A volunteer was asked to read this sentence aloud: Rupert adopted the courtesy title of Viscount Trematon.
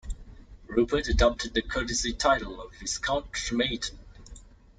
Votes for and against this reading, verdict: 2, 0, accepted